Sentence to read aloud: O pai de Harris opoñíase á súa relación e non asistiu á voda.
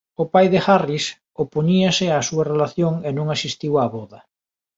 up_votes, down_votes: 2, 0